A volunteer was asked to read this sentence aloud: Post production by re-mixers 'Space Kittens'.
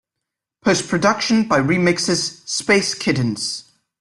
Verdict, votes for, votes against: accepted, 2, 0